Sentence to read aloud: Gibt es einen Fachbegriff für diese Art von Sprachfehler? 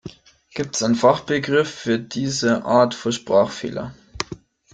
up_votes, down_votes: 1, 2